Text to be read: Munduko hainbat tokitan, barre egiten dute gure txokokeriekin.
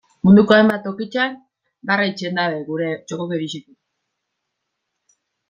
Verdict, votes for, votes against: rejected, 1, 2